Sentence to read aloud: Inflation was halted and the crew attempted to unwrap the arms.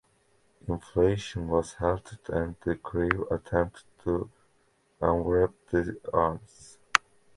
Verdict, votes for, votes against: accepted, 2, 0